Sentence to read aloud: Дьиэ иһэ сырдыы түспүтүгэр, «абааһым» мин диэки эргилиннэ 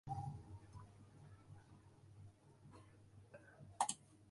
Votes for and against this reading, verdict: 0, 2, rejected